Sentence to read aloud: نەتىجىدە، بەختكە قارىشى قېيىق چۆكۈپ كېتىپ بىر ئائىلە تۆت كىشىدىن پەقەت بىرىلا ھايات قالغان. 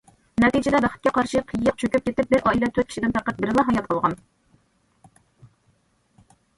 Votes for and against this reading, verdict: 0, 2, rejected